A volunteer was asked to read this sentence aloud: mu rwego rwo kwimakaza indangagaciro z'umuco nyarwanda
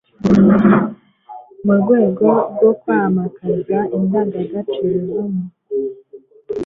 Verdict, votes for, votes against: rejected, 1, 2